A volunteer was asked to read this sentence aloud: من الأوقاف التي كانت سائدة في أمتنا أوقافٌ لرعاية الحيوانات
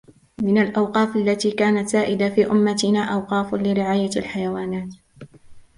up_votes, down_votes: 0, 2